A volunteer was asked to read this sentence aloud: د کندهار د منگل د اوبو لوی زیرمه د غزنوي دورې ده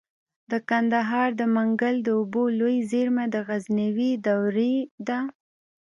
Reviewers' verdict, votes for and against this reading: rejected, 1, 2